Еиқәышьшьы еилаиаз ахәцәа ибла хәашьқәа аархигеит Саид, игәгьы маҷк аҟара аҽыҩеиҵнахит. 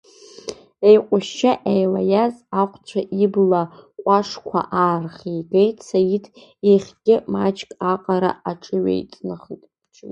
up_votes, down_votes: 1, 2